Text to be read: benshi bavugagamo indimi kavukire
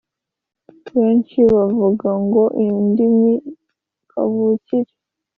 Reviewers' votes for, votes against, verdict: 2, 1, accepted